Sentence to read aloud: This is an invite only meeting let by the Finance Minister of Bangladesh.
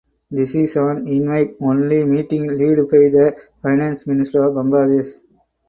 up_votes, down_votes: 0, 4